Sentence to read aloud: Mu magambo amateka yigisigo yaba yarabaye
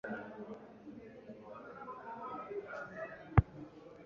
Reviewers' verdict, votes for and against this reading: rejected, 0, 2